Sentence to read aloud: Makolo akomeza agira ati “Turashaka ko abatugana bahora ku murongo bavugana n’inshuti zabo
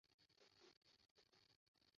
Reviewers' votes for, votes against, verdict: 0, 2, rejected